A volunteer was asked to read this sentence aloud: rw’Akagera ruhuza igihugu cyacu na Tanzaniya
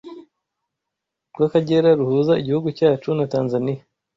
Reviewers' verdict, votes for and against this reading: accepted, 2, 0